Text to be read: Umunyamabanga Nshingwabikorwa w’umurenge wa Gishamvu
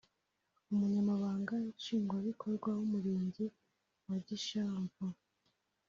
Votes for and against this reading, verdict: 0, 2, rejected